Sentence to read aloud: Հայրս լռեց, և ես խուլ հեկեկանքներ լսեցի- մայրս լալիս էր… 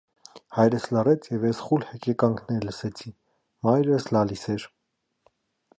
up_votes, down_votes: 1, 2